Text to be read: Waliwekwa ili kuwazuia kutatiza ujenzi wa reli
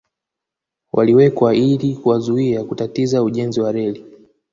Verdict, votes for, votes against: accepted, 2, 0